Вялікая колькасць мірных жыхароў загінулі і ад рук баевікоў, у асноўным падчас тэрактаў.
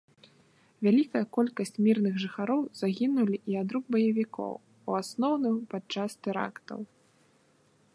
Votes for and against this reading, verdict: 2, 0, accepted